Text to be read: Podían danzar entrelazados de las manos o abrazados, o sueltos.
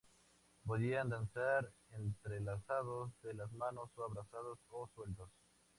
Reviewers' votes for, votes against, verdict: 2, 0, accepted